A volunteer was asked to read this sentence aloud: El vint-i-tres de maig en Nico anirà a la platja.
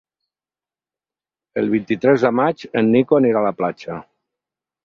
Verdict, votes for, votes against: accepted, 6, 2